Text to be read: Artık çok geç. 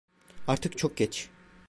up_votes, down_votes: 2, 0